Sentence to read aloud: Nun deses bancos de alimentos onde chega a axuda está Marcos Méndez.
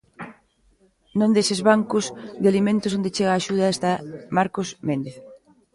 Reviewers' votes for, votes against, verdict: 1, 2, rejected